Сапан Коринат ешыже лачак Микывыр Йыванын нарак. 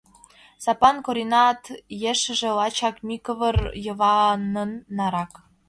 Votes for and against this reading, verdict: 2, 1, accepted